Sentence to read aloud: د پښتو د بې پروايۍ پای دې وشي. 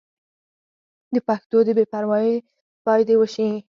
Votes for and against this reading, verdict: 4, 0, accepted